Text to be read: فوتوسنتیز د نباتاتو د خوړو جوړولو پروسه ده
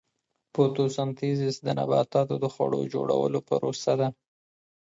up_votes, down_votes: 2, 0